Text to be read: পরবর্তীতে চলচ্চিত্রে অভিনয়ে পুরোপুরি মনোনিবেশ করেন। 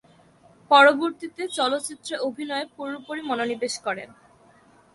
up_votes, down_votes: 2, 0